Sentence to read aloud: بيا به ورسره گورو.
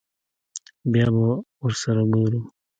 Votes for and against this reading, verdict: 0, 2, rejected